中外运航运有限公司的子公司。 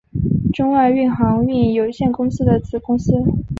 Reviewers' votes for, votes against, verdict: 2, 0, accepted